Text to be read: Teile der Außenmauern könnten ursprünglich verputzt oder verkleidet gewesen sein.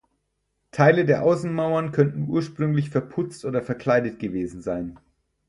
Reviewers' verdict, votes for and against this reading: accepted, 4, 0